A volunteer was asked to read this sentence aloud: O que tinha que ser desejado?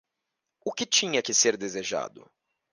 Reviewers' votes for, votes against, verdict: 2, 0, accepted